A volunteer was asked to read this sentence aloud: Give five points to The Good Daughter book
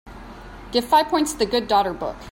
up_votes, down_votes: 2, 0